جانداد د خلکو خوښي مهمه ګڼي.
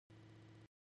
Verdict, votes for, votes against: rejected, 2, 3